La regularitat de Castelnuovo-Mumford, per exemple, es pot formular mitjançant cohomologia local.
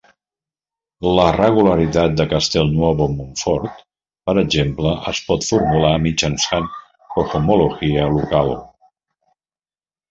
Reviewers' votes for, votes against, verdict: 0, 2, rejected